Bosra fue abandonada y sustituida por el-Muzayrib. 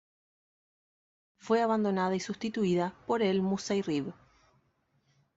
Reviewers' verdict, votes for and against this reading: rejected, 1, 2